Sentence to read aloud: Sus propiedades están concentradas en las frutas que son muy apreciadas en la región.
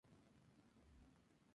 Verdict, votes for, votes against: rejected, 2, 2